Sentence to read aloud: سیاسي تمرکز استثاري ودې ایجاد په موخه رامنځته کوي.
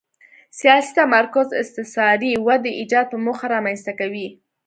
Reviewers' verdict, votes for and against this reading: accepted, 2, 0